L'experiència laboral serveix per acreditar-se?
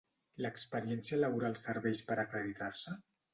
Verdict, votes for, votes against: accepted, 2, 0